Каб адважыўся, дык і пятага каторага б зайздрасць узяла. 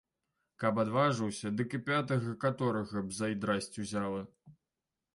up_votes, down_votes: 0, 2